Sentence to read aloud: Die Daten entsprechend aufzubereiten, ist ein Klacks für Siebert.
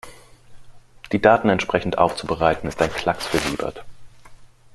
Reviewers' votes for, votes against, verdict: 1, 2, rejected